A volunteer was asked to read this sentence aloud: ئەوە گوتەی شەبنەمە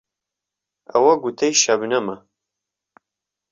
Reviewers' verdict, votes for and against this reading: accepted, 2, 0